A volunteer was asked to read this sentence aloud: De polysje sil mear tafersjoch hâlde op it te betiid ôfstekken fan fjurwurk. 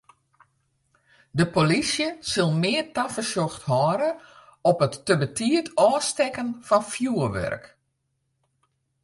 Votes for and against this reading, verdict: 1, 2, rejected